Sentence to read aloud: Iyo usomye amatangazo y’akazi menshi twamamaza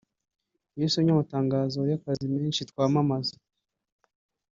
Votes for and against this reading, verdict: 1, 2, rejected